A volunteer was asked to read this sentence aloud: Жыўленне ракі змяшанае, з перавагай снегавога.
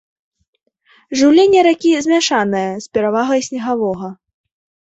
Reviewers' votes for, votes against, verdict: 2, 0, accepted